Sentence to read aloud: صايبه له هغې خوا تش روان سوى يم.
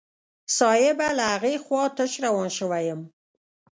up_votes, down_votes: 0, 2